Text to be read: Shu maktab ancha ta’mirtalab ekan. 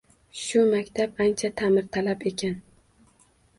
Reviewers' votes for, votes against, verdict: 2, 0, accepted